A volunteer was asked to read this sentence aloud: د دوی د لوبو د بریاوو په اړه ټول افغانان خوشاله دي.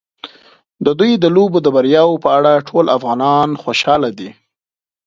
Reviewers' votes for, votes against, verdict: 2, 0, accepted